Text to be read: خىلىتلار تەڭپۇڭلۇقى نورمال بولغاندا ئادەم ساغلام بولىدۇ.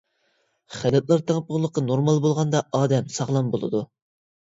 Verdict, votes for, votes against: accepted, 2, 1